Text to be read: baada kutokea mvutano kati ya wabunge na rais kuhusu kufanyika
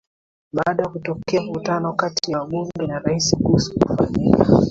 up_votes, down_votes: 2, 1